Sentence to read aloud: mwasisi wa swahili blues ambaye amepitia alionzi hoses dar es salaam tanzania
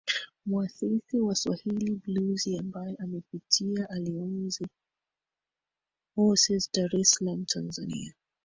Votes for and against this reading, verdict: 0, 2, rejected